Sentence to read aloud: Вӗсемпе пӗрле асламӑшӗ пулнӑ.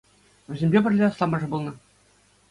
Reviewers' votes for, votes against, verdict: 2, 0, accepted